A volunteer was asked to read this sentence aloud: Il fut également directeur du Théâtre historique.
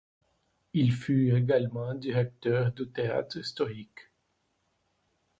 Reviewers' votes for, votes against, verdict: 2, 0, accepted